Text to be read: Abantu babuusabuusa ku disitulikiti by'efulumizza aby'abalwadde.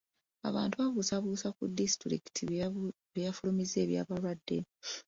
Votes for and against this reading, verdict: 2, 0, accepted